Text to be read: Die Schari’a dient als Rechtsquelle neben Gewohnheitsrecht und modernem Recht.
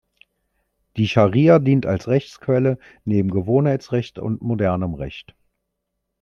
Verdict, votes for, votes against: accepted, 2, 0